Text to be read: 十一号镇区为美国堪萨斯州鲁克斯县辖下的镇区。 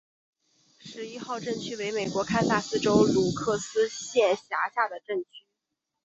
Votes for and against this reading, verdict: 2, 0, accepted